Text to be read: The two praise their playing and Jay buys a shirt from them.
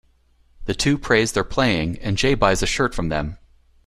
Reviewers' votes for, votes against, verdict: 2, 0, accepted